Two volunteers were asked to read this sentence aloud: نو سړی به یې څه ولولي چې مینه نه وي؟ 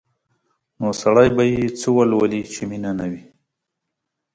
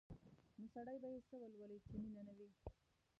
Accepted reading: first